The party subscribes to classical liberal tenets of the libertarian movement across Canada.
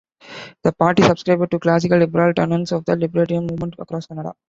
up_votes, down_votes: 0, 2